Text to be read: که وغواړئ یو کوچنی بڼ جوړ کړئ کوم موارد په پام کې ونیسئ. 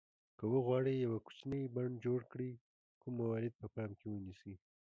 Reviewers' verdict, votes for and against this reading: accepted, 2, 1